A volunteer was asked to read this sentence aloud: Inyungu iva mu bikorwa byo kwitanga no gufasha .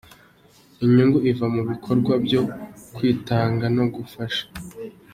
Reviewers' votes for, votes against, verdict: 2, 0, accepted